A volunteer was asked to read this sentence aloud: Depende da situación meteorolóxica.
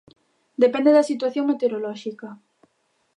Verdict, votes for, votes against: accepted, 2, 0